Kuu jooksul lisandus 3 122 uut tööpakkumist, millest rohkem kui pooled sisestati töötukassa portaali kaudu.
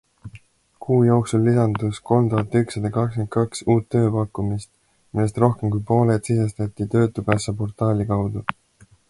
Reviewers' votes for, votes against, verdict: 0, 2, rejected